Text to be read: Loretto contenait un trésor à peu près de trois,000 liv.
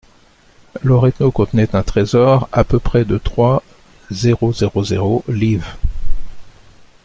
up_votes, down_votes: 0, 2